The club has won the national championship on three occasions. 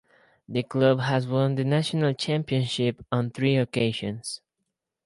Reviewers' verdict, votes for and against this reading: accepted, 4, 0